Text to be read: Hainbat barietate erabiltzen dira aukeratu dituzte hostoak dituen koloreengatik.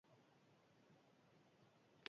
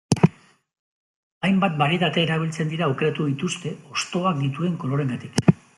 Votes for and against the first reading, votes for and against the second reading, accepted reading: 0, 2, 2, 0, second